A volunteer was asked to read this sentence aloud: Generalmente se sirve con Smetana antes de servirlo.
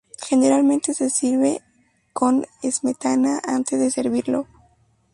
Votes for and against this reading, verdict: 2, 0, accepted